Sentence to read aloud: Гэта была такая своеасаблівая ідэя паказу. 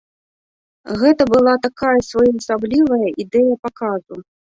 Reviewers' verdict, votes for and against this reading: rejected, 1, 2